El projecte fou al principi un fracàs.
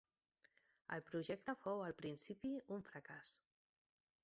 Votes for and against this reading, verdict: 2, 1, accepted